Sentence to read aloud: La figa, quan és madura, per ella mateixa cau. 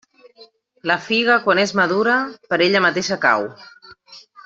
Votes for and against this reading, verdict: 3, 0, accepted